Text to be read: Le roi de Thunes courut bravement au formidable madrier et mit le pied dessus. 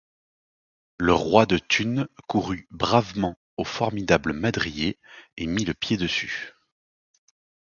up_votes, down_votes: 2, 0